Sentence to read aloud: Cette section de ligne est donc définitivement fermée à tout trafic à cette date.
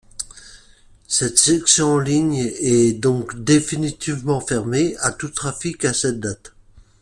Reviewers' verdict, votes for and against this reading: accepted, 2, 0